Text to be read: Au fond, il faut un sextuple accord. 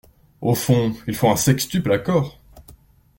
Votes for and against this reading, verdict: 2, 0, accepted